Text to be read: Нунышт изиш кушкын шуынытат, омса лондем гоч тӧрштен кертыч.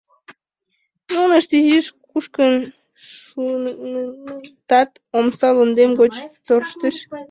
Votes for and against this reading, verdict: 0, 2, rejected